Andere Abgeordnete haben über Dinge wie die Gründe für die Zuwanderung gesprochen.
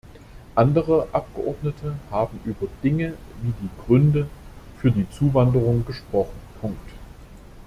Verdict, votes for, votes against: rejected, 0, 2